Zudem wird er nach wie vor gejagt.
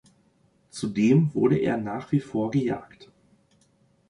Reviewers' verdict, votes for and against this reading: rejected, 0, 2